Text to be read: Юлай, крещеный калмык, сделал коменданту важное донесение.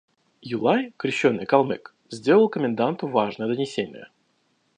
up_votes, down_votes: 3, 0